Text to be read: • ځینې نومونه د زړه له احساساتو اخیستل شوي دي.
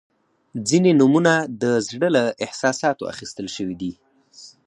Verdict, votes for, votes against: accepted, 4, 0